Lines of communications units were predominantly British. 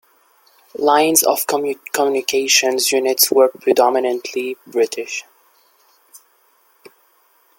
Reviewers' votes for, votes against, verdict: 0, 2, rejected